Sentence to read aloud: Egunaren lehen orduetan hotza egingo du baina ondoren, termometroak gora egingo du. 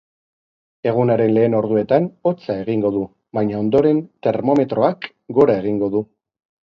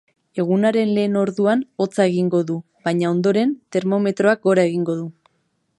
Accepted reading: first